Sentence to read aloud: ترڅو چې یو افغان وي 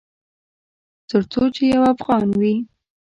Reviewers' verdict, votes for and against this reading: accepted, 2, 0